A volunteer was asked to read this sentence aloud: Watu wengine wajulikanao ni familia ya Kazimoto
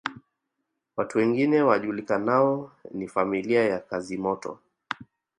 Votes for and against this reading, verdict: 2, 1, accepted